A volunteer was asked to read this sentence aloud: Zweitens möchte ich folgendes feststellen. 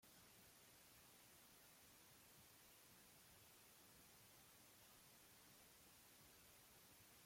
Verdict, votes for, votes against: rejected, 0, 2